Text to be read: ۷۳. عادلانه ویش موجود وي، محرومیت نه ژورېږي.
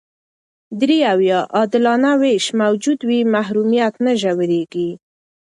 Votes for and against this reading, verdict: 0, 2, rejected